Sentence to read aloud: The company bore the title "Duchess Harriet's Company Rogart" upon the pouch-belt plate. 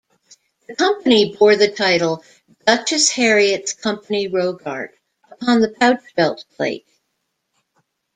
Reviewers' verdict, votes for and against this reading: accepted, 2, 0